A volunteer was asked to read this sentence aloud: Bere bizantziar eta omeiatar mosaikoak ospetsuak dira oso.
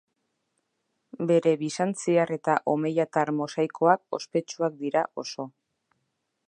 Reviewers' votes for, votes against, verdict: 1, 2, rejected